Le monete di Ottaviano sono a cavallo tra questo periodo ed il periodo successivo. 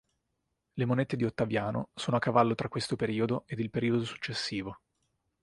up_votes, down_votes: 3, 0